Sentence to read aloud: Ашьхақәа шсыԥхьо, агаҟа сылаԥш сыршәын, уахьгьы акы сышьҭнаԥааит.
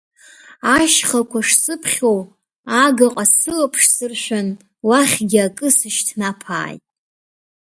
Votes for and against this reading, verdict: 2, 0, accepted